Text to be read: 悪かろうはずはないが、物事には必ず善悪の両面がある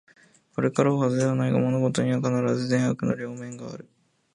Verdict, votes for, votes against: rejected, 0, 2